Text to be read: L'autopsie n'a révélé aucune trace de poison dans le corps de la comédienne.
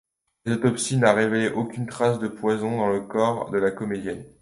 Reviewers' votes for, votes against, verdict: 2, 0, accepted